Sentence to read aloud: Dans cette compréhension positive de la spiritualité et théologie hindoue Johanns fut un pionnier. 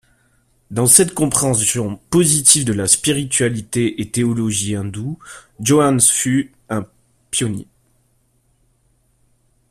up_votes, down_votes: 2, 0